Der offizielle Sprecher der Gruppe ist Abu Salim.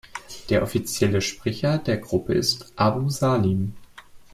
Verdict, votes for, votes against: accepted, 2, 0